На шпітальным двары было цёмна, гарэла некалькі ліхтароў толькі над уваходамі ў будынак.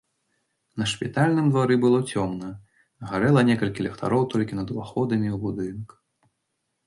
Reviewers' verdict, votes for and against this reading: accepted, 2, 0